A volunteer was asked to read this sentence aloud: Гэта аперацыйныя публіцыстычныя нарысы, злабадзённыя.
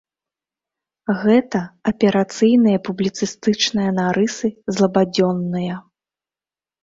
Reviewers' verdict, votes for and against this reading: rejected, 1, 2